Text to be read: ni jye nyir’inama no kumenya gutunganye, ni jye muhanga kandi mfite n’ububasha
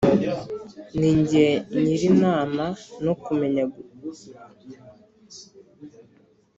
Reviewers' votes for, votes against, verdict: 1, 2, rejected